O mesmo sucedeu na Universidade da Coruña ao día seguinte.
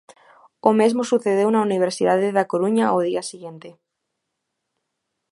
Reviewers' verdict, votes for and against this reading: rejected, 0, 2